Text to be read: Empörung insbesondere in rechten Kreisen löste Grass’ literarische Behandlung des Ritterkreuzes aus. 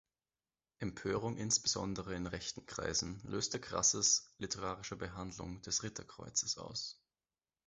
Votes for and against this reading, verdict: 1, 2, rejected